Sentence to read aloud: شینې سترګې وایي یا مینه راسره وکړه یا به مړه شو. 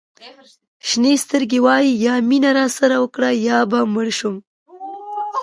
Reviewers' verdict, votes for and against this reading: rejected, 1, 2